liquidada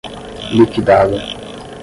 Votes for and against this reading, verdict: 5, 0, accepted